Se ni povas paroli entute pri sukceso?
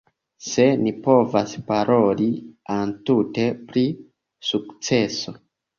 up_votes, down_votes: 0, 2